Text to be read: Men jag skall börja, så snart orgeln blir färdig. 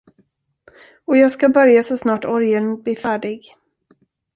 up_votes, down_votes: 0, 2